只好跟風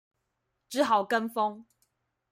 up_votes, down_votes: 2, 0